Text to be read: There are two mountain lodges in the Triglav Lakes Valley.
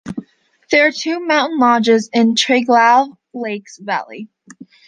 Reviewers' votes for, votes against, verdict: 2, 0, accepted